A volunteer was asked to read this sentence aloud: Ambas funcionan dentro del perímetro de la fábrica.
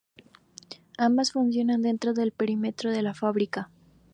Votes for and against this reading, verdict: 4, 0, accepted